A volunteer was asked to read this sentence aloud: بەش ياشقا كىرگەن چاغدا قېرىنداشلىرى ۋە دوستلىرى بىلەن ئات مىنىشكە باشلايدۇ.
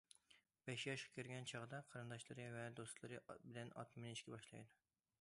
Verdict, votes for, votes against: accepted, 2, 1